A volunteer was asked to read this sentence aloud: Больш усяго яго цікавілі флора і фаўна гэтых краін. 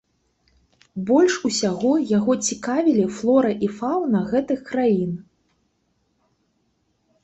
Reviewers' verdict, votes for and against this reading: rejected, 1, 3